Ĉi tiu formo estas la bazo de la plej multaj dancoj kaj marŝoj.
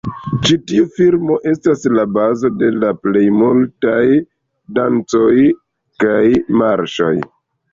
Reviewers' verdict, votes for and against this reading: accepted, 2, 1